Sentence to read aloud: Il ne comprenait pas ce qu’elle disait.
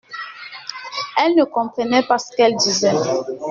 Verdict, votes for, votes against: rejected, 0, 2